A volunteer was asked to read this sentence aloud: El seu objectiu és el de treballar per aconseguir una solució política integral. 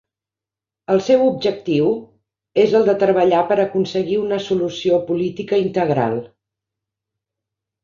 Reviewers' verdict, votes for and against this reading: accepted, 3, 0